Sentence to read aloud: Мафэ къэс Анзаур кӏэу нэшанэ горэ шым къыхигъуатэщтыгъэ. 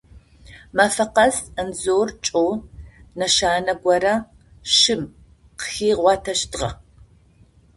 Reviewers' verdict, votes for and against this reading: rejected, 2, 4